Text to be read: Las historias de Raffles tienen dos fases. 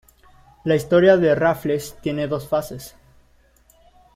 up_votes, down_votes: 0, 2